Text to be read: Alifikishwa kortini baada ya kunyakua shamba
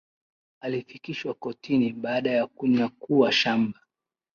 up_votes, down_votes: 2, 0